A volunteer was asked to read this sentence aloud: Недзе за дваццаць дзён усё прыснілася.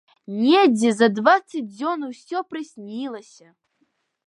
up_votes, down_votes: 2, 0